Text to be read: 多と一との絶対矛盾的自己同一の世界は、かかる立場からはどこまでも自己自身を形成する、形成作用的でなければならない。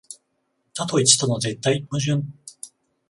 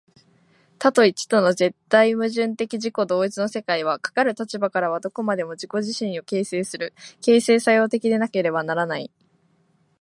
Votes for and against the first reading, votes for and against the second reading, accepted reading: 0, 14, 2, 0, second